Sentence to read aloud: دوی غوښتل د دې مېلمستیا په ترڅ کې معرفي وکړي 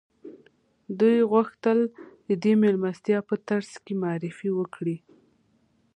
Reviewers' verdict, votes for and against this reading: accepted, 2, 0